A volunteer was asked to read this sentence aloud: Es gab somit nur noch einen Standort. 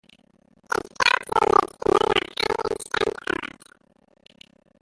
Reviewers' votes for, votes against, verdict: 0, 2, rejected